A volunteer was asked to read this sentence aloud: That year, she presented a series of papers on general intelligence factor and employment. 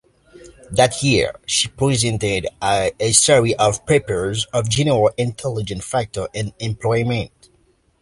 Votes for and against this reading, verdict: 0, 2, rejected